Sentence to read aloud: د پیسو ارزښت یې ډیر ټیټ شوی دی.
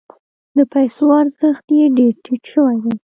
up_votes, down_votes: 1, 2